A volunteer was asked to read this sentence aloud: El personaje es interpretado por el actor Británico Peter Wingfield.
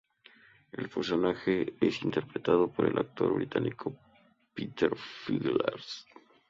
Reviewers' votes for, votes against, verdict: 0, 2, rejected